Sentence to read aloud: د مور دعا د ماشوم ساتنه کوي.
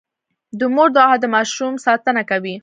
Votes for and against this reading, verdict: 3, 0, accepted